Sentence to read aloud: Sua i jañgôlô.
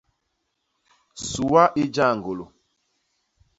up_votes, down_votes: 2, 0